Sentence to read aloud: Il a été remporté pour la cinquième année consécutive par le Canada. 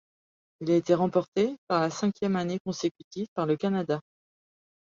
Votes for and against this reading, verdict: 0, 2, rejected